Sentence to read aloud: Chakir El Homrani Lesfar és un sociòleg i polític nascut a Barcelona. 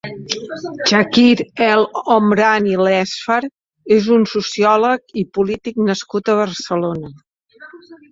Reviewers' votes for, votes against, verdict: 1, 3, rejected